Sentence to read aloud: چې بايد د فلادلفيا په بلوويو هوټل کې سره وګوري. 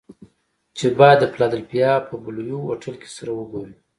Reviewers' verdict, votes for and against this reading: accepted, 2, 0